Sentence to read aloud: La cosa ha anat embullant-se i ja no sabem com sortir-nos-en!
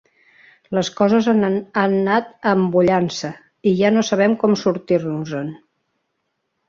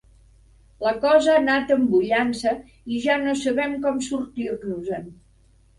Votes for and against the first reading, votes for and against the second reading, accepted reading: 0, 2, 2, 0, second